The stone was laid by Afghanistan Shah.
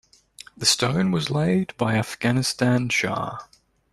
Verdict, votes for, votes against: accepted, 3, 0